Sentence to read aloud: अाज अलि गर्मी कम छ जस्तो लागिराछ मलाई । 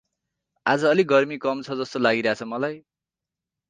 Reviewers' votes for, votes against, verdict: 4, 0, accepted